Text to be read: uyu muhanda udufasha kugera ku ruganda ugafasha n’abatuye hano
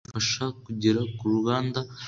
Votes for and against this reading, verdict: 1, 2, rejected